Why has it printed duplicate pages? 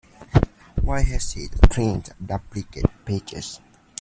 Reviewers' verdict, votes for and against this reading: accepted, 2, 1